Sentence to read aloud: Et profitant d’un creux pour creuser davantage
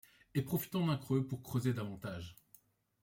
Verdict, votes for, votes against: accepted, 3, 0